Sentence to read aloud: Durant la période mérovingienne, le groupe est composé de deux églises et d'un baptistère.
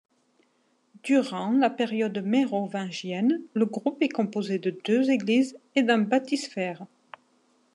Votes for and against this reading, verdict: 1, 2, rejected